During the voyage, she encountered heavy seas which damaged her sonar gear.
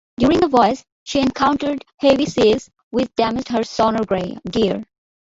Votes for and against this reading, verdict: 0, 2, rejected